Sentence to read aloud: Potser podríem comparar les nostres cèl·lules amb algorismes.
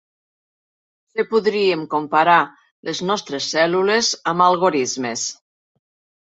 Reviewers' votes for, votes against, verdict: 1, 2, rejected